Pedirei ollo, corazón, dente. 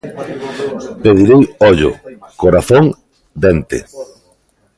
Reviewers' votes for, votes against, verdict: 0, 2, rejected